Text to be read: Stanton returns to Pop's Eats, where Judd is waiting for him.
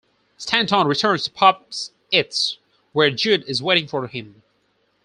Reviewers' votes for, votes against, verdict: 0, 4, rejected